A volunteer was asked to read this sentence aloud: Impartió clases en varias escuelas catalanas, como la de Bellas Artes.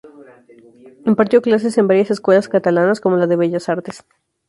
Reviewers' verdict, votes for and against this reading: rejected, 0, 2